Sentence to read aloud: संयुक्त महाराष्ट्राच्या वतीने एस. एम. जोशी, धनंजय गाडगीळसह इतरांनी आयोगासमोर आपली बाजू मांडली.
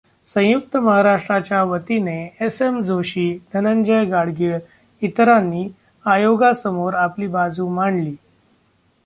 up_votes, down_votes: 0, 2